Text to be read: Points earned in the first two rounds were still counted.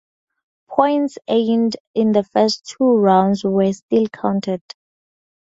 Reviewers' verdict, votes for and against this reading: accepted, 4, 0